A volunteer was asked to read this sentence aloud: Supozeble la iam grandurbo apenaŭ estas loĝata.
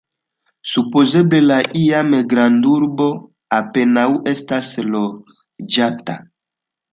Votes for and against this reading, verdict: 2, 1, accepted